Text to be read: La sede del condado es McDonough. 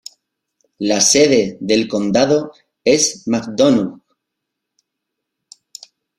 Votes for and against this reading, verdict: 1, 2, rejected